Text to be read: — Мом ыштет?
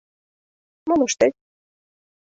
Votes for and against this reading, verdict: 2, 0, accepted